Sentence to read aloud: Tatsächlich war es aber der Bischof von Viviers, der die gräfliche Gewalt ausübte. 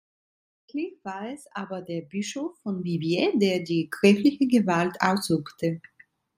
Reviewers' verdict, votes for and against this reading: rejected, 0, 2